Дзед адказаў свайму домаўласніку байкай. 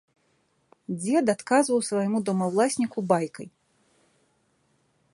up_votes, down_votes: 0, 2